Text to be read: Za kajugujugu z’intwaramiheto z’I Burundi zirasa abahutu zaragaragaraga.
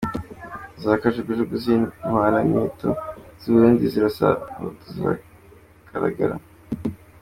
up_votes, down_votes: 2, 1